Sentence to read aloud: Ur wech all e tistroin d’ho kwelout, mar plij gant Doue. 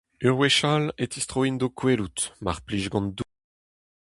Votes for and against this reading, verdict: 2, 2, rejected